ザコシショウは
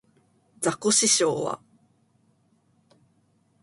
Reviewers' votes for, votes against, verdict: 2, 0, accepted